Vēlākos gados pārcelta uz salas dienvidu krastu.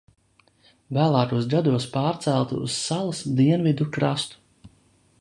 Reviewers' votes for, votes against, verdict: 2, 0, accepted